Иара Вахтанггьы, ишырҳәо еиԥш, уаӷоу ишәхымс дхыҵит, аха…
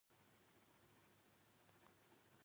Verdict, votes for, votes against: rejected, 0, 2